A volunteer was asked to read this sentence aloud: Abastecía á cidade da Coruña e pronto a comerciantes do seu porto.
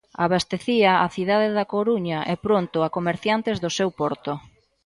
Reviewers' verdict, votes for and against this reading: accepted, 2, 1